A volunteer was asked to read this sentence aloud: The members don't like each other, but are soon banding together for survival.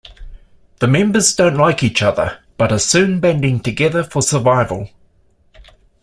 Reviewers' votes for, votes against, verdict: 2, 0, accepted